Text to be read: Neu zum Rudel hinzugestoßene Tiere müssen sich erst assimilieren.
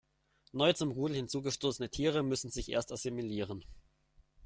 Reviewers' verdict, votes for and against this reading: accepted, 2, 0